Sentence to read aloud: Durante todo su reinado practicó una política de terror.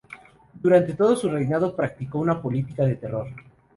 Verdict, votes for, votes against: accepted, 2, 0